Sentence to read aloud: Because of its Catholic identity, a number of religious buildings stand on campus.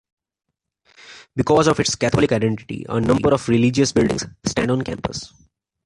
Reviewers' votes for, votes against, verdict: 2, 0, accepted